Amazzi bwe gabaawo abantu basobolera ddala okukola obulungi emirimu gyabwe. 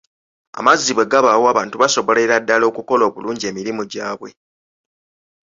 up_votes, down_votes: 3, 0